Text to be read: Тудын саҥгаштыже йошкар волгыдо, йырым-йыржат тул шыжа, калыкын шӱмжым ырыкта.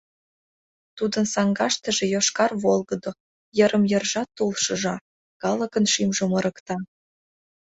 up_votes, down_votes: 2, 0